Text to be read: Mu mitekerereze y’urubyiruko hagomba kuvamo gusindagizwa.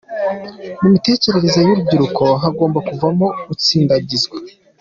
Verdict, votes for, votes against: rejected, 0, 2